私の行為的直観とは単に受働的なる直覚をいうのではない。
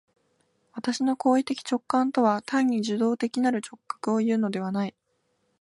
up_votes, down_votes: 2, 0